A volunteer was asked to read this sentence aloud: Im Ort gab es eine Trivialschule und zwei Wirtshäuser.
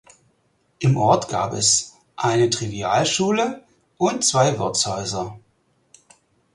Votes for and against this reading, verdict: 4, 0, accepted